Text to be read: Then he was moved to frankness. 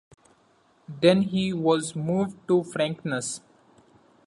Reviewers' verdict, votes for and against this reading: accepted, 2, 0